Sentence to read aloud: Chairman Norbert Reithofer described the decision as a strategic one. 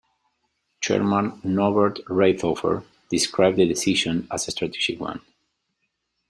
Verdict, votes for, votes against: rejected, 1, 2